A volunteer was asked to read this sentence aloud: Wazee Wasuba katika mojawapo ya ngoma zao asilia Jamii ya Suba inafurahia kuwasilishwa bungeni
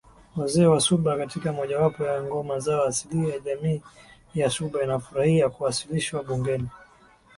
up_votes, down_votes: 2, 0